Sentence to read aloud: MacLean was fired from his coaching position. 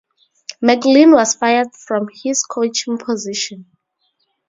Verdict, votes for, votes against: accepted, 2, 0